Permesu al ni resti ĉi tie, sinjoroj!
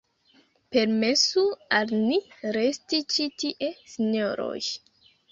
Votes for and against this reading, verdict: 0, 2, rejected